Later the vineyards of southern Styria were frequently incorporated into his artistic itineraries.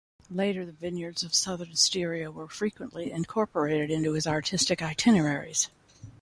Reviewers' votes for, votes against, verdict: 2, 0, accepted